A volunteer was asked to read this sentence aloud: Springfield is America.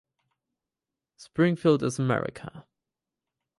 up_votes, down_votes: 4, 0